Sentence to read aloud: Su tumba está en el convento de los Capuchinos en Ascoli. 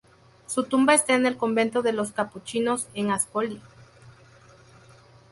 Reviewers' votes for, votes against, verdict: 0, 2, rejected